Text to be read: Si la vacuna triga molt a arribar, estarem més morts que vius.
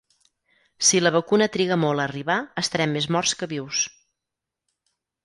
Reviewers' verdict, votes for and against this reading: accepted, 4, 0